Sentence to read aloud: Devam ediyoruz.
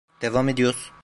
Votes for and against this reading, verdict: 0, 2, rejected